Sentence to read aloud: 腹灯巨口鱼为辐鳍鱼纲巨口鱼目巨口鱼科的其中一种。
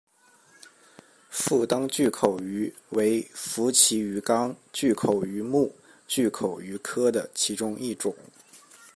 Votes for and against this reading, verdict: 2, 0, accepted